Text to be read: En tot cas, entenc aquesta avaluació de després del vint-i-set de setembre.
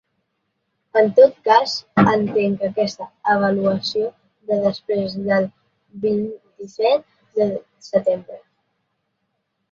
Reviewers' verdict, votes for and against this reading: rejected, 0, 2